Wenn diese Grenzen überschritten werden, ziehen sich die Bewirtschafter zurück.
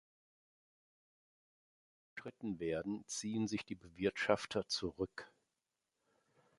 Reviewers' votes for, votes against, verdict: 0, 2, rejected